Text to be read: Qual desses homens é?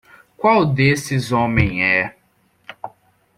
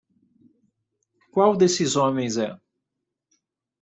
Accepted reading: second